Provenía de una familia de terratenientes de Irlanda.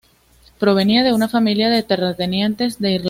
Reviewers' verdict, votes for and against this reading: accepted, 2, 1